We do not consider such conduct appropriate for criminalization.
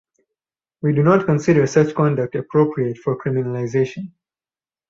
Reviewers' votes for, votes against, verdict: 4, 0, accepted